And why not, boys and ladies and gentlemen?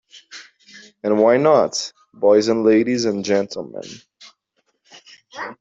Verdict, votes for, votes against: accepted, 2, 1